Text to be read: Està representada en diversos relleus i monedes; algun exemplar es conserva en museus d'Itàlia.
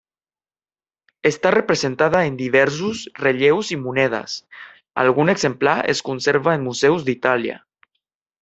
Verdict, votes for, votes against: rejected, 1, 2